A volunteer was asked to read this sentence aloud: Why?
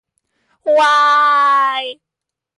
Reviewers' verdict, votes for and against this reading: rejected, 2, 4